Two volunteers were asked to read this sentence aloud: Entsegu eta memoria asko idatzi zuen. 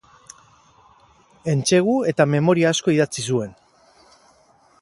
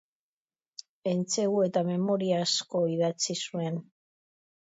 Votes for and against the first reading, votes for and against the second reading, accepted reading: 0, 6, 3, 0, second